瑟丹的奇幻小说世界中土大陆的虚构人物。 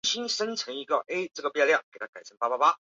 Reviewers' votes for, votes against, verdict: 0, 6, rejected